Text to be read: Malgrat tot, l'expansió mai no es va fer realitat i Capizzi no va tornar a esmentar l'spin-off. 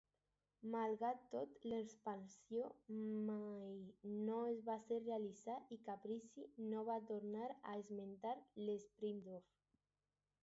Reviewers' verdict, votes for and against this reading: accepted, 2, 0